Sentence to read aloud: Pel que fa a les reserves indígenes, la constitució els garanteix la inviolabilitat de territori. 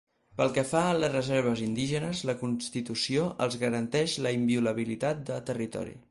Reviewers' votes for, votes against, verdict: 4, 0, accepted